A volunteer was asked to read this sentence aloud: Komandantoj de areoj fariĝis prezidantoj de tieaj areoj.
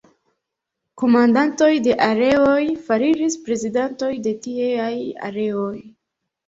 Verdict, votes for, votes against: accepted, 2, 1